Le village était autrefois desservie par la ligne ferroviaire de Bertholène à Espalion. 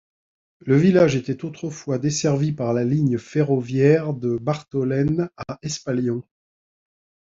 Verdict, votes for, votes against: rejected, 1, 2